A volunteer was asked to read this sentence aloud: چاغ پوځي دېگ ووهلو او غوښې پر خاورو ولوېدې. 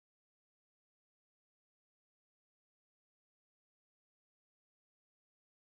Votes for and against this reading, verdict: 1, 2, rejected